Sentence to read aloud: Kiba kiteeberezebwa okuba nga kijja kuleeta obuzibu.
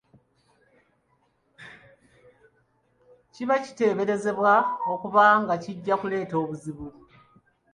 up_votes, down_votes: 2, 0